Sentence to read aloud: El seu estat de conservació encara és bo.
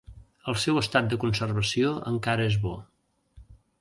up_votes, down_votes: 2, 0